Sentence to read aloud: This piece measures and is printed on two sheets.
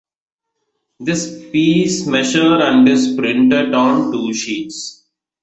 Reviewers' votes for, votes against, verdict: 0, 2, rejected